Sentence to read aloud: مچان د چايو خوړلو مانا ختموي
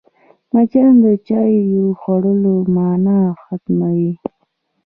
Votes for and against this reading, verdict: 0, 2, rejected